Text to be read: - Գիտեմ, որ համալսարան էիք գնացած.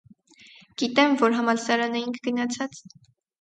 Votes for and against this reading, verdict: 0, 2, rejected